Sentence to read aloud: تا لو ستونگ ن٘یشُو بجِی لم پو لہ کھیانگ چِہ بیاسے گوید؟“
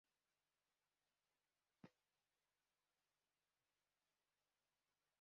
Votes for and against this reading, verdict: 2, 1, accepted